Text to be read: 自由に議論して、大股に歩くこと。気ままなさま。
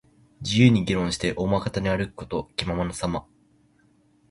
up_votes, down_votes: 2, 1